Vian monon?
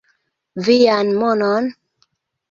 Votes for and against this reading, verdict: 2, 1, accepted